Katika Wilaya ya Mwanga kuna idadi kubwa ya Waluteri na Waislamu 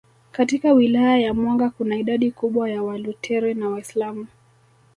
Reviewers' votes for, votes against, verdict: 2, 0, accepted